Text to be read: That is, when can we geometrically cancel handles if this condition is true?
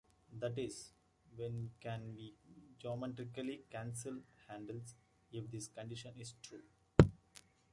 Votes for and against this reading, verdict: 2, 0, accepted